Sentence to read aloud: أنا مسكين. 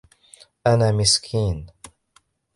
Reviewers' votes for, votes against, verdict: 3, 0, accepted